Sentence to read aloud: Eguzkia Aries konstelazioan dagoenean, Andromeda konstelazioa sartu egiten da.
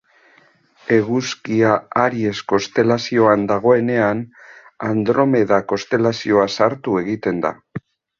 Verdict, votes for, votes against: accepted, 2, 0